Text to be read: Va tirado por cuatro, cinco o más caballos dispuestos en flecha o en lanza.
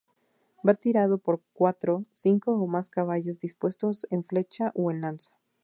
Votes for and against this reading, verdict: 0, 2, rejected